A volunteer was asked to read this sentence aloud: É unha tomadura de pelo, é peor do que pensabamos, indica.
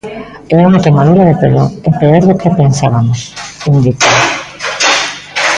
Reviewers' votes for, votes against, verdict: 0, 2, rejected